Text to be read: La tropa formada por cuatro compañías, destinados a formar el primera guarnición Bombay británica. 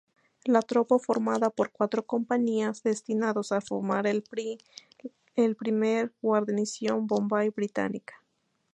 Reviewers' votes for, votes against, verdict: 0, 2, rejected